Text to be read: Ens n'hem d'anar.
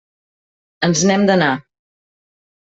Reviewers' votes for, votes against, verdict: 3, 0, accepted